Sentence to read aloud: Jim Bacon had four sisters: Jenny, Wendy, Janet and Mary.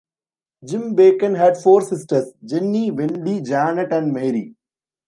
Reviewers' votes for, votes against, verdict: 0, 2, rejected